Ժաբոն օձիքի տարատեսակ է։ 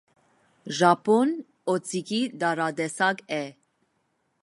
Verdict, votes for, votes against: accepted, 2, 0